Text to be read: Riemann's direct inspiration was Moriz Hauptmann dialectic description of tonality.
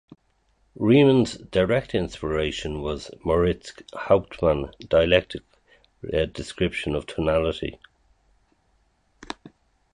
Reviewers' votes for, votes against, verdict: 2, 2, rejected